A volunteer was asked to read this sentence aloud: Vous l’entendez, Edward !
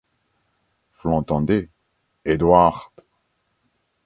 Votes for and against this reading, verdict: 2, 0, accepted